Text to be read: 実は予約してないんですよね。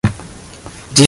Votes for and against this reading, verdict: 0, 2, rejected